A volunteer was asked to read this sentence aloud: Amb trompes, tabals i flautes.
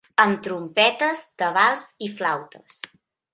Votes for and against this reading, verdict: 0, 2, rejected